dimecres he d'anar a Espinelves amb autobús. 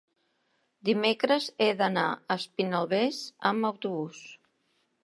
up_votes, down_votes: 1, 2